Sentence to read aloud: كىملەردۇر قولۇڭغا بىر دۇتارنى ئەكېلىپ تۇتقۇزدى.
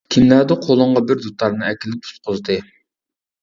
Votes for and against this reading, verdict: 0, 2, rejected